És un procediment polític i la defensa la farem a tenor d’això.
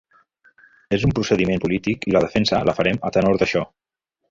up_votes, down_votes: 3, 0